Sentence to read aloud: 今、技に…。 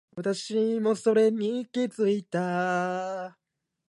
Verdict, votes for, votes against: rejected, 3, 6